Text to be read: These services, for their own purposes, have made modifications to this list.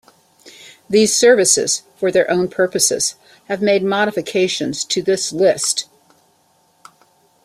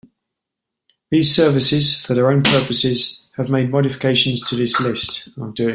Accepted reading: first